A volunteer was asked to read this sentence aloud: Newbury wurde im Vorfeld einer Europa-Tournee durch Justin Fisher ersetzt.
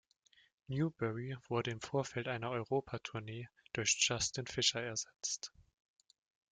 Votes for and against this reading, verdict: 2, 0, accepted